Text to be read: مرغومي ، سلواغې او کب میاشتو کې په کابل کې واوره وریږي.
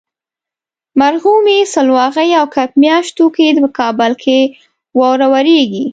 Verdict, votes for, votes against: accepted, 2, 0